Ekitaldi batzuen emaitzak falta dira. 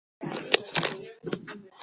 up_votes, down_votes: 1, 11